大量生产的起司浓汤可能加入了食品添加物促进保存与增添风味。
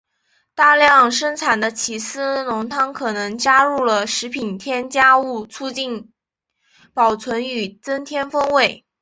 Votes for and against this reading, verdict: 3, 1, accepted